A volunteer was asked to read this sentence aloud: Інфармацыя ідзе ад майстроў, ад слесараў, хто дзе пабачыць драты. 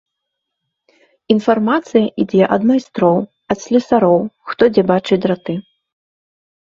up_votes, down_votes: 1, 2